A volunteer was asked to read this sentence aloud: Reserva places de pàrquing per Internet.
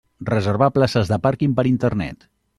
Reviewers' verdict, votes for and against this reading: rejected, 1, 2